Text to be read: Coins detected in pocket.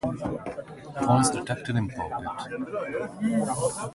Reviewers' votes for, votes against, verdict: 2, 4, rejected